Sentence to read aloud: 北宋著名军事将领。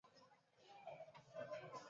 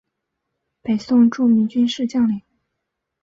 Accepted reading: second